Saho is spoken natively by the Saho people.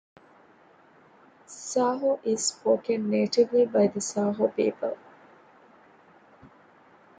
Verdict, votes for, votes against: accepted, 2, 0